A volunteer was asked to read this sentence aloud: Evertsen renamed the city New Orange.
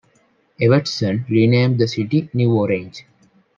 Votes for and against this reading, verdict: 0, 2, rejected